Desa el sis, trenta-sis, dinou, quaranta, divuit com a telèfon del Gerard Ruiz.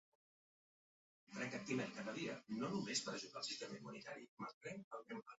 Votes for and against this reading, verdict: 0, 2, rejected